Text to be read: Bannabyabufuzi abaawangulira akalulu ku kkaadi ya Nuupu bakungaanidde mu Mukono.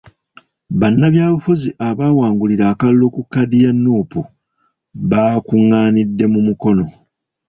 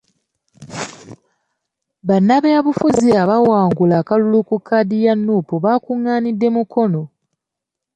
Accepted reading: second